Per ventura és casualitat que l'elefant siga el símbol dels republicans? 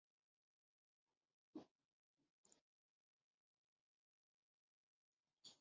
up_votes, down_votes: 0, 2